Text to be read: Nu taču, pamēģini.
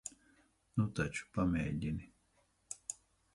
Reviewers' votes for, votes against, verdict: 0, 2, rejected